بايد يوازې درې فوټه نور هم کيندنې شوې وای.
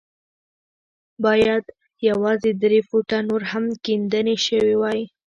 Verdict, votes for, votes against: rejected, 1, 2